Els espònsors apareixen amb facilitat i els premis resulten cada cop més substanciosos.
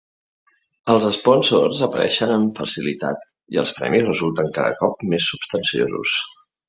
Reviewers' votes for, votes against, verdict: 2, 0, accepted